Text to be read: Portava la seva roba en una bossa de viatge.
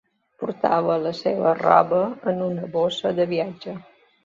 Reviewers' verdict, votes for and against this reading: accepted, 2, 0